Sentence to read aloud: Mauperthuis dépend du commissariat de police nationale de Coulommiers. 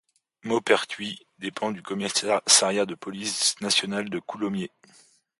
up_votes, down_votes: 1, 2